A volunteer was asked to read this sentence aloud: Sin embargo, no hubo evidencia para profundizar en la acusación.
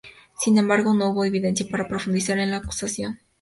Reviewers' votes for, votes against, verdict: 2, 0, accepted